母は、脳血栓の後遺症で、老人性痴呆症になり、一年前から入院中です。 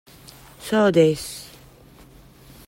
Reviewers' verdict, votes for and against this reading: rejected, 0, 2